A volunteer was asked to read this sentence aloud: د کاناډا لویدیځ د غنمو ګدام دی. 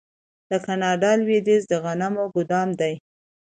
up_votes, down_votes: 2, 0